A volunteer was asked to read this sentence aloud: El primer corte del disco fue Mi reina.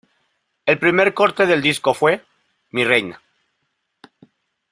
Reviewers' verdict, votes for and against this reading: accepted, 2, 1